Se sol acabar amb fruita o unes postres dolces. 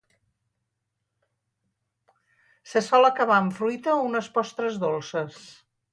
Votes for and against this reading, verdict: 4, 0, accepted